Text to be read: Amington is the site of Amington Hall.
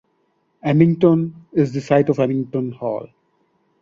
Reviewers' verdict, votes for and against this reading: accepted, 2, 1